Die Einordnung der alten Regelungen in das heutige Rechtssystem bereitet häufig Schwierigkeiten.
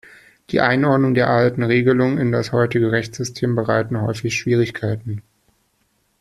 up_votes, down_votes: 1, 2